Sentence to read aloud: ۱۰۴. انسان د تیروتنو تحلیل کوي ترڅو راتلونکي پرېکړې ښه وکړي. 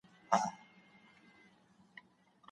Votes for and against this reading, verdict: 0, 2, rejected